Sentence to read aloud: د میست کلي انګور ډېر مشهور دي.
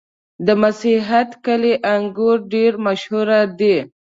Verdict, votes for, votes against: accepted, 2, 0